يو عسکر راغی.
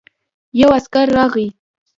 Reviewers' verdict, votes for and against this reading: rejected, 1, 2